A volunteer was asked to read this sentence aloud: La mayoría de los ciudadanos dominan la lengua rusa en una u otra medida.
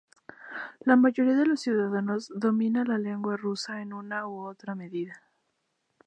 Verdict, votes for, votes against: accepted, 2, 0